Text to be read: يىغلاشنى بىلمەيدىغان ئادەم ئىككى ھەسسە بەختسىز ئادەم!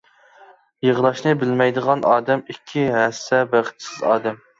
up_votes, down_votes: 2, 0